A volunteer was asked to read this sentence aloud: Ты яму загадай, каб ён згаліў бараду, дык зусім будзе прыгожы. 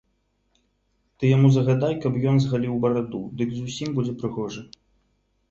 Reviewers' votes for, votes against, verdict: 2, 0, accepted